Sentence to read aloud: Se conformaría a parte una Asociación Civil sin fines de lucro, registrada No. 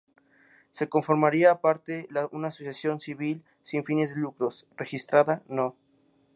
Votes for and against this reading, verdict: 2, 6, rejected